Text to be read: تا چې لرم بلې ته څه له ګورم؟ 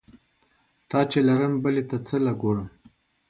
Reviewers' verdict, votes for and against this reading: accepted, 2, 0